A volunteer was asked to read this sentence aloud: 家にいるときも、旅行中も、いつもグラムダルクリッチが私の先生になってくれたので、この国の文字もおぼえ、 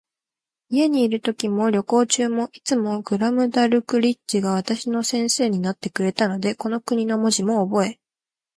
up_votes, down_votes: 3, 0